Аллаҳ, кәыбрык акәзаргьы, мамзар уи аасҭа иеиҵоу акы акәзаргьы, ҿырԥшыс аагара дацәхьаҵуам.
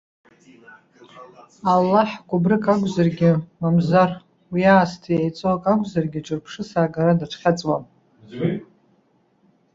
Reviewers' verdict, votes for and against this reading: rejected, 1, 2